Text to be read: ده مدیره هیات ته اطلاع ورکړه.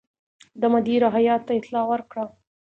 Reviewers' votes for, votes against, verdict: 2, 0, accepted